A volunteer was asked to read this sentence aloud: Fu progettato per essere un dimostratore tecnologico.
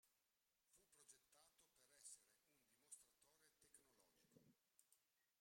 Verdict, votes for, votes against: rejected, 0, 2